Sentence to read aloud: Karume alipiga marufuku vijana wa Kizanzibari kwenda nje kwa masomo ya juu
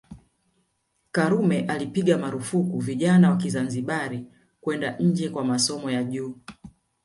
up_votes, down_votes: 1, 2